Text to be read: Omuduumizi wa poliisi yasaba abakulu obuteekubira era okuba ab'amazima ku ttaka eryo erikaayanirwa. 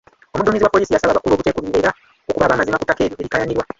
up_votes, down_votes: 2, 1